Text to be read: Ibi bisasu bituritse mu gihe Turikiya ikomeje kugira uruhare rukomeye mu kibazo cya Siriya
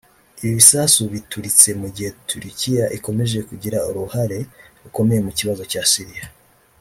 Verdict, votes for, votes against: rejected, 1, 2